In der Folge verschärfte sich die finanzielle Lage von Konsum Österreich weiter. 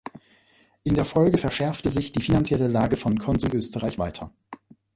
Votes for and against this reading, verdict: 2, 0, accepted